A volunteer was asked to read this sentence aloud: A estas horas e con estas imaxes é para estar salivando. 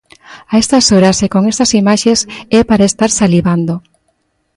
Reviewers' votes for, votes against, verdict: 2, 1, accepted